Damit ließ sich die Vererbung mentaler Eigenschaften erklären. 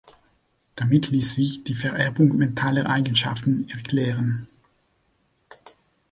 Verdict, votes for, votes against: accepted, 3, 0